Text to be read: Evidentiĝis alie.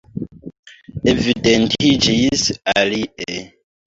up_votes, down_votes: 2, 3